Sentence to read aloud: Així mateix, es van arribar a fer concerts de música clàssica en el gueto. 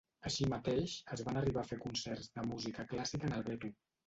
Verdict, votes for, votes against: rejected, 0, 2